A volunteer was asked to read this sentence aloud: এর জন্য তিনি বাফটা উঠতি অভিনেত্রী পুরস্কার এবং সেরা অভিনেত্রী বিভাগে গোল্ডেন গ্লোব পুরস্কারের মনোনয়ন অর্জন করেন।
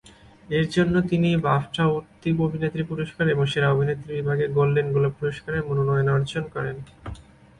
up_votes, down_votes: 0, 2